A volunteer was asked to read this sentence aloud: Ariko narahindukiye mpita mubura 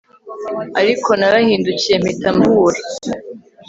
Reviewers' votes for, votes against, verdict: 2, 0, accepted